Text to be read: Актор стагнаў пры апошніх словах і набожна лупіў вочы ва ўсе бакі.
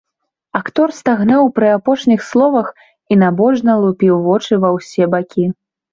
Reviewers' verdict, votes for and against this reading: accepted, 2, 0